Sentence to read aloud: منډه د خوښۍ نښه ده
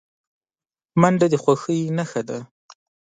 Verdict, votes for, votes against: accepted, 2, 0